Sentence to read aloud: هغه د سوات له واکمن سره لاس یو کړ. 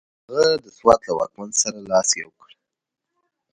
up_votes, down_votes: 2, 0